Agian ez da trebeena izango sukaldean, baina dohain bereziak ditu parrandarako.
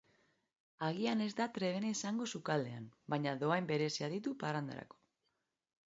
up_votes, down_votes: 3, 1